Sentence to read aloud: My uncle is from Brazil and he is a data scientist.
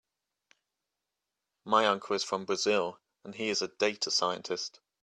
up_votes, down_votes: 3, 0